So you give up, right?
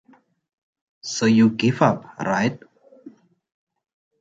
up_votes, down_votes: 2, 0